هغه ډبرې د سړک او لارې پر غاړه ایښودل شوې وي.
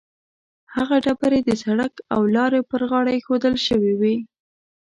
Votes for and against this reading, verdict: 2, 0, accepted